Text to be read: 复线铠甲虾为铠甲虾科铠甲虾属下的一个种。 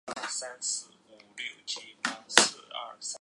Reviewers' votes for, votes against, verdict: 2, 4, rejected